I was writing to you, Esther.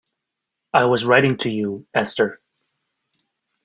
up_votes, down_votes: 2, 0